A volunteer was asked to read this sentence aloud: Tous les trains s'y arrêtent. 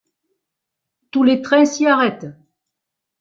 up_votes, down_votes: 1, 2